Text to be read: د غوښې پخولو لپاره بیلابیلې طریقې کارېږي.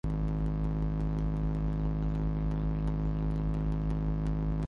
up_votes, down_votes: 0, 2